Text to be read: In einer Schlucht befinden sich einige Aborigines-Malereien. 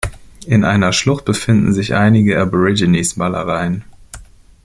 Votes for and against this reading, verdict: 2, 0, accepted